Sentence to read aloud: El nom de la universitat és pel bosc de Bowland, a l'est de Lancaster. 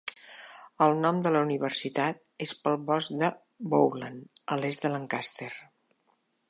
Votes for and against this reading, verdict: 2, 0, accepted